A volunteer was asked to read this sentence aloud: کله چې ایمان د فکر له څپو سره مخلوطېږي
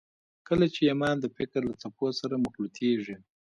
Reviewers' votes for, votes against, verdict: 2, 0, accepted